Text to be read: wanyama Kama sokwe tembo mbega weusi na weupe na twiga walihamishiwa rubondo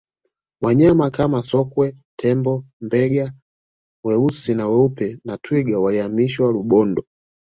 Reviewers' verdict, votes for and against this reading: accepted, 2, 0